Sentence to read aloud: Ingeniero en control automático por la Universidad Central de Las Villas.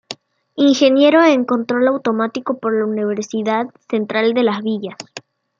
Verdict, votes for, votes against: accepted, 2, 0